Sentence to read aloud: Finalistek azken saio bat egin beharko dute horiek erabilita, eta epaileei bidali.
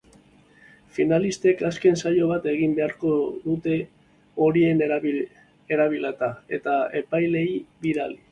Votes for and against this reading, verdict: 2, 1, accepted